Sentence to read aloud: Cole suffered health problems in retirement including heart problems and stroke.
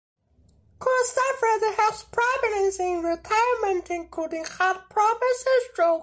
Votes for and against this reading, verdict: 1, 2, rejected